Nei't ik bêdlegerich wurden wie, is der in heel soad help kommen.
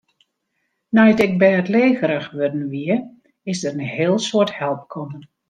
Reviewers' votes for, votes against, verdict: 2, 0, accepted